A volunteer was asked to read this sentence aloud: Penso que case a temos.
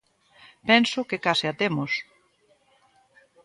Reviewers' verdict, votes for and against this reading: accepted, 2, 0